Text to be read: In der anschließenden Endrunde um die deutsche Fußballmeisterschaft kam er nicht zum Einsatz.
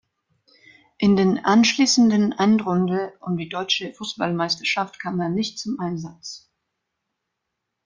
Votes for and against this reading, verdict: 0, 2, rejected